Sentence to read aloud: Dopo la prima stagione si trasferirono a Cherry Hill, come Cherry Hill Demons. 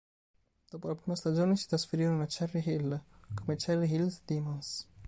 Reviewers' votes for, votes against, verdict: 2, 1, accepted